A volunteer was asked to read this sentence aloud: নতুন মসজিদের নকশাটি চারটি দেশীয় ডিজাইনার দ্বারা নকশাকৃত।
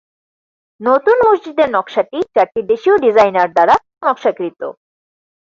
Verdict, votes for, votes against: accepted, 4, 2